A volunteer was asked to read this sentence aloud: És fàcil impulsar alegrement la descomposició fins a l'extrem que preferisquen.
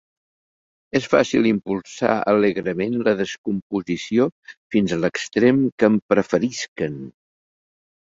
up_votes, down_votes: 1, 2